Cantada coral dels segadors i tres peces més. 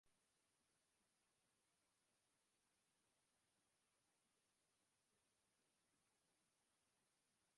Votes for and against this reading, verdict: 0, 3, rejected